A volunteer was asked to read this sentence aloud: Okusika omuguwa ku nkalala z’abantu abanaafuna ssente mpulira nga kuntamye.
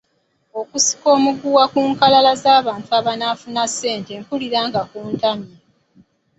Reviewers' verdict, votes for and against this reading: accepted, 2, 0